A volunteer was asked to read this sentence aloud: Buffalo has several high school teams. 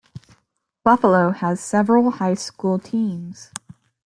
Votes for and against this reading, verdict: 2, 0, accepted